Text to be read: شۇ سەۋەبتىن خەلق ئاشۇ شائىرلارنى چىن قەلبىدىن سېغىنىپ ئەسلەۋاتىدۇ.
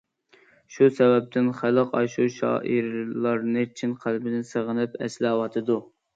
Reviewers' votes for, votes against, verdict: 2, 0, accepted